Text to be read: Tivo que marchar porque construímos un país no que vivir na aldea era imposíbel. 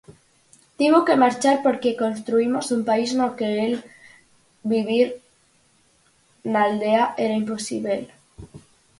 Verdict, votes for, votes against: rejected, 0, 4